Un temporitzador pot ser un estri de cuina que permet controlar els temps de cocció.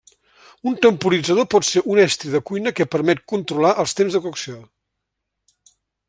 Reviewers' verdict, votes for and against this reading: accepted, 3, 0